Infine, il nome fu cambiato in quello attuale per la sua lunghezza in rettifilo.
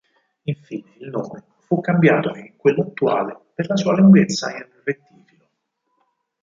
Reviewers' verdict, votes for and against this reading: rejected, 0, 4